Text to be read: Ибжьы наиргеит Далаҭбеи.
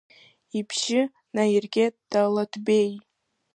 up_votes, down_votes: 2, 1